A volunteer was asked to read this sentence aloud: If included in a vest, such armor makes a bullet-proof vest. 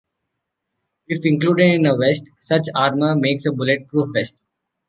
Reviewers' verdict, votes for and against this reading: accepted, 3, 0